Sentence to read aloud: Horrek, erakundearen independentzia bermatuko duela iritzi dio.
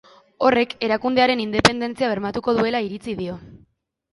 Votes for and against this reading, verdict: 2, 1, accepted